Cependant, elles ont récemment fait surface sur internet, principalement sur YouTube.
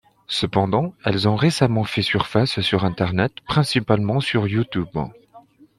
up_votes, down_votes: 2, 0